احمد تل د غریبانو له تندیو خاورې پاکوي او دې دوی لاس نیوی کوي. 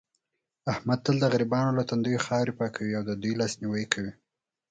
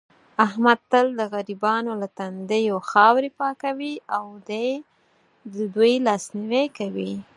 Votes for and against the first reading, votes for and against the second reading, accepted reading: 4, 0, 2, 4, first